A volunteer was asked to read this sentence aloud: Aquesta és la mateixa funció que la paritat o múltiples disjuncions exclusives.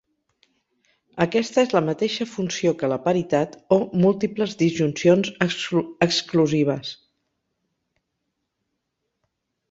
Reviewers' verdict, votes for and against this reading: rejected, 0, 4